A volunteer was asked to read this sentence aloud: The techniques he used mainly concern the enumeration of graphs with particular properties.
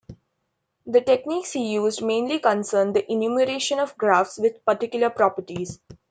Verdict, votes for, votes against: accepted, 2, 0